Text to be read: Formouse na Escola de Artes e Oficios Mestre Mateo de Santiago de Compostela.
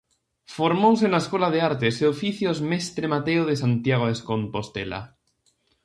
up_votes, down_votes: 0, 2